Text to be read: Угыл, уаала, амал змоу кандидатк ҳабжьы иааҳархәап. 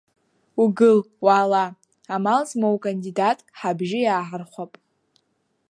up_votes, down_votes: 2, 0